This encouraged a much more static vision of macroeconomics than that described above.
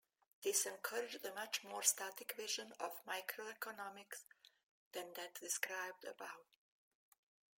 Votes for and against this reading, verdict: 1, 2, rejected